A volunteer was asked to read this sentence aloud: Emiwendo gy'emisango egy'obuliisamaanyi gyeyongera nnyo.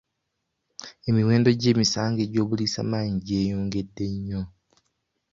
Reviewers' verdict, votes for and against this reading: rejected, 1, 2